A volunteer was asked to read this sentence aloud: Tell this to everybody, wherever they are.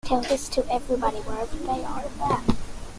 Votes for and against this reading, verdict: 0, 2, rejected